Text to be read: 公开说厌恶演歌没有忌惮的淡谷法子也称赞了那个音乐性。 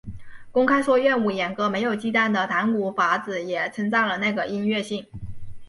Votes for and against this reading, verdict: 2, 1, accepted